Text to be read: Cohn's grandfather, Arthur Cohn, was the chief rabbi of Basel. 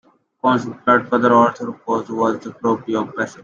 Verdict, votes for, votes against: rejected, 0, 2